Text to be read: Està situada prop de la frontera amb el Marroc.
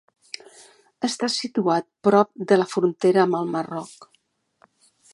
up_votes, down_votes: 0, 2